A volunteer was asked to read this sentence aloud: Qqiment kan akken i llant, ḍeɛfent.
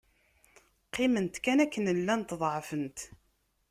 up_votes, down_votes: 1, 2